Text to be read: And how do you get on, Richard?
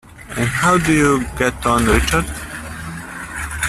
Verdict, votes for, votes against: rejected, 1, 2